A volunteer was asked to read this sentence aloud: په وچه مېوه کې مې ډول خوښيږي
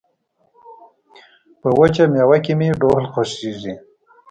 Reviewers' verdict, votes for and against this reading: accepted, 2, 0